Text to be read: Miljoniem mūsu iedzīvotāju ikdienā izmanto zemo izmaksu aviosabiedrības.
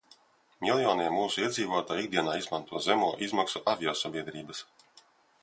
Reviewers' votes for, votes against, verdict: 2, 0, accepted